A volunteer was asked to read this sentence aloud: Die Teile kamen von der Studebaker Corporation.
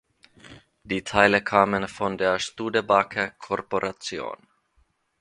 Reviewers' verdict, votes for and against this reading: accepted, 3, 0